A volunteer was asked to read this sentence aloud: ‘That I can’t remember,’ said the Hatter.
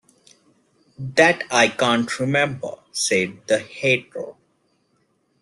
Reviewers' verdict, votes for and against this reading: rejected, 0, 2